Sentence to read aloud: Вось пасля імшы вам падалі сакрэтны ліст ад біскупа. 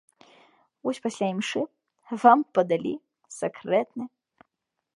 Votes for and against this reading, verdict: 0, 2, rejected